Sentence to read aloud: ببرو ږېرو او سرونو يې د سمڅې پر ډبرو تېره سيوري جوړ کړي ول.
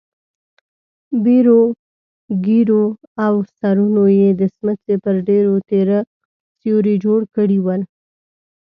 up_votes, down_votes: 0, 2